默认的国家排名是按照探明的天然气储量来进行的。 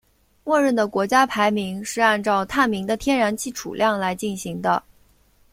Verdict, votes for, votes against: accepted, 2, 0